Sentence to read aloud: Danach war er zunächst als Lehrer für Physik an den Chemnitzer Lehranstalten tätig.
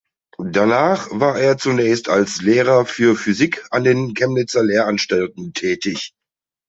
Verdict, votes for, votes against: accepted, 2, 0